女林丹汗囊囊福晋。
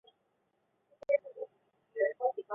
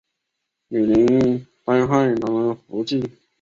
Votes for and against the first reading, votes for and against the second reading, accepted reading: 0, 3, 3, 1, second